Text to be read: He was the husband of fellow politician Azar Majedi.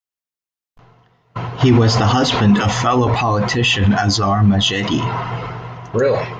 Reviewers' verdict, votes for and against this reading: rejected, 0, 2